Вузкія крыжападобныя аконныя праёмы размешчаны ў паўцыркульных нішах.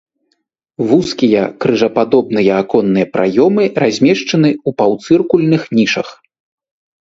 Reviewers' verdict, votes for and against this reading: accepted, 2, 0